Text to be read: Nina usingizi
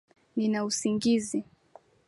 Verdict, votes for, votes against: accepted, 4, 0